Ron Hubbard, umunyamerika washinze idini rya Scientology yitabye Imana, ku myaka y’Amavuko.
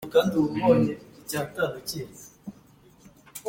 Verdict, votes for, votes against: rejected, 0, 2